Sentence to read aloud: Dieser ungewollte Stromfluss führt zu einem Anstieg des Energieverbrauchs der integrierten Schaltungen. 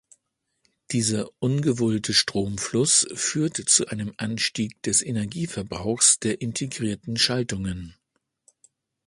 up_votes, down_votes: 1, 2